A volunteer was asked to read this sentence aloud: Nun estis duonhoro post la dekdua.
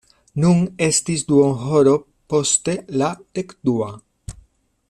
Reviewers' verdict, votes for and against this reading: rejected, 0, 2